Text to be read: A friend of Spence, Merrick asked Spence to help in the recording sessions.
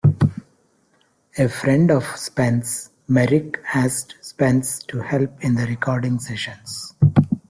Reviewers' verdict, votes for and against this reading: accepted, 2, 0